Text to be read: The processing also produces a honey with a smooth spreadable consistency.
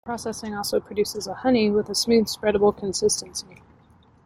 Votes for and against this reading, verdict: 1, 2, rejected